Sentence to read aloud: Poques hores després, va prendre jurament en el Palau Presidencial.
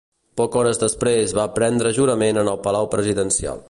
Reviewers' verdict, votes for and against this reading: rejected, 1, 2